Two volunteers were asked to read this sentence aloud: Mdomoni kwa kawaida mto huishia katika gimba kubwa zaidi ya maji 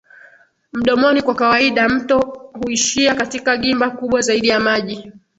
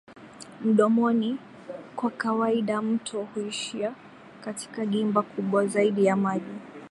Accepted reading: first